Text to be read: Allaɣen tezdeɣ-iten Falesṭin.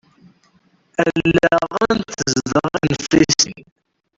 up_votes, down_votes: 0, 2